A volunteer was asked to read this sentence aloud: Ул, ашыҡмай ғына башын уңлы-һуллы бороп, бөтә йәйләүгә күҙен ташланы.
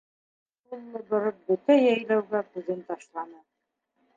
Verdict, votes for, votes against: rejected, 0, 2